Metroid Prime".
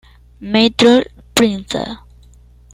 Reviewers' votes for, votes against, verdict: 0, 2, rejected